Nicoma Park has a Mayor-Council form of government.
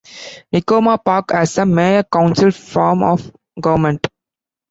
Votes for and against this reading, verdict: 1, 2, rejected